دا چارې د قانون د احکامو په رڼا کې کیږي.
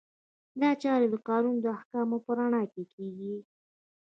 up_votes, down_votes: 2, 0